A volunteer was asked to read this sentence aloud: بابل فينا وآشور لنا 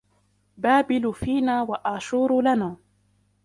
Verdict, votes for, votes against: rejected, 0, 2